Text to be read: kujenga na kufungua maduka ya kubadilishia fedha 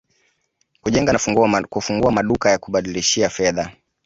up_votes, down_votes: 1, 2